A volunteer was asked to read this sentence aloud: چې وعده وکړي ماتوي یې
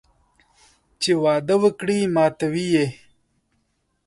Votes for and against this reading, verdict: 2, 0, accepted